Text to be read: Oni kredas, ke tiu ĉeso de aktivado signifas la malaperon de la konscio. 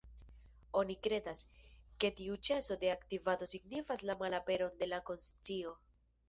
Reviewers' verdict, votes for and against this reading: rejected, 0, 2